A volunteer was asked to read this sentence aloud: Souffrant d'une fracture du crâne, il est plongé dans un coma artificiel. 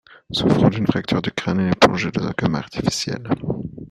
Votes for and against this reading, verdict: 1, 2, rejected